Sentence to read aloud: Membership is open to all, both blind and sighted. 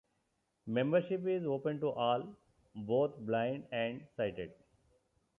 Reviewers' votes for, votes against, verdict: 2, 0, accepted